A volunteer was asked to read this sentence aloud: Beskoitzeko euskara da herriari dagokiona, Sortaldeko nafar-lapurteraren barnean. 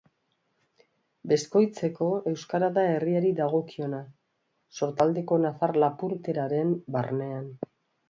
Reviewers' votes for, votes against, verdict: 2, 0, accepted